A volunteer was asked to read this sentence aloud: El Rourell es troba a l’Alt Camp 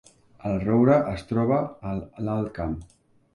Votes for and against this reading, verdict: 0, 2, rejected